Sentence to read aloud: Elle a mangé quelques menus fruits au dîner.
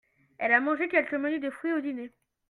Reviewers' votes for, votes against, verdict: 0, 2, rejected